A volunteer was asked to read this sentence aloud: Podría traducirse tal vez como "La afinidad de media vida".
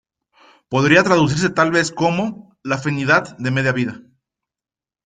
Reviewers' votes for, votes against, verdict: 2, 0, accepted